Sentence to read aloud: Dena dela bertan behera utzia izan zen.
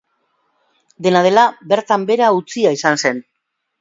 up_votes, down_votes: 2, 0